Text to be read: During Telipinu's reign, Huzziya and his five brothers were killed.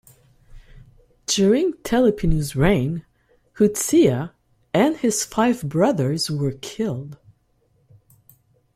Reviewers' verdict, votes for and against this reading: accepted, 2, 0